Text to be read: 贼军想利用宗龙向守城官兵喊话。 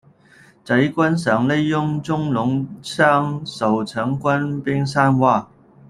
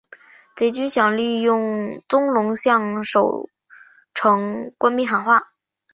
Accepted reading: second